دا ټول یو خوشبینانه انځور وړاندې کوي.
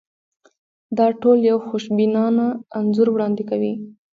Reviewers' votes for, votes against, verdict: 2, 1, accepted